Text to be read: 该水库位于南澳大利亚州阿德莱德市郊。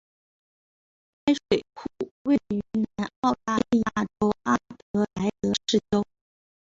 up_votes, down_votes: 1, 2